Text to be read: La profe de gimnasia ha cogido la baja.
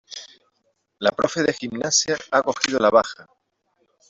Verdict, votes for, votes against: accepted, 2, 0